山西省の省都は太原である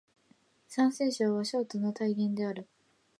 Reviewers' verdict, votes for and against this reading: rejected, 1, 2